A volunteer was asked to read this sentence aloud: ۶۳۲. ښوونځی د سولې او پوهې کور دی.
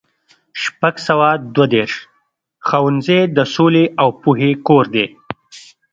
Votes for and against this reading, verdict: 0, 2, rejected